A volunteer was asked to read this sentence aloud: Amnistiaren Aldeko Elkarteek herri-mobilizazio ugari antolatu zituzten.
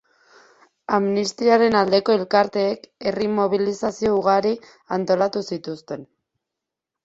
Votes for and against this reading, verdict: 2, 0, accepted